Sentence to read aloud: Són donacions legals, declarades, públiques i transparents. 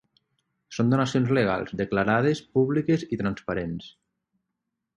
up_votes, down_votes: 6, 0